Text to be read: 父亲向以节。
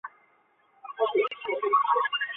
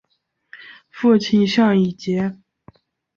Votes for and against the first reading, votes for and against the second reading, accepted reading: 0, 5, 2, 0, second